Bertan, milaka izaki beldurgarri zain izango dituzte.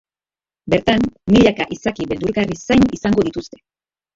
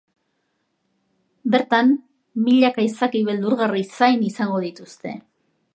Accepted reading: second